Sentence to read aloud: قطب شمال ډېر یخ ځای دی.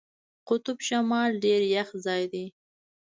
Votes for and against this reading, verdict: 0, 2, rejected